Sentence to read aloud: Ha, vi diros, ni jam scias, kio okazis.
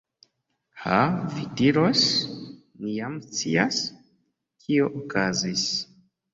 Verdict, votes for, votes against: accepted, 2, 0